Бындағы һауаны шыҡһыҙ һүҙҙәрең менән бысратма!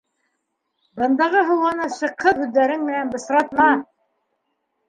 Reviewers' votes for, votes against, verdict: 2, 0, accepted